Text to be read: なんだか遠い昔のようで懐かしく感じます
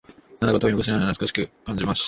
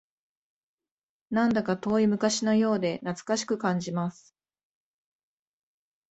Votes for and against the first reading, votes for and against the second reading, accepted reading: 0, 2, 2, 0, second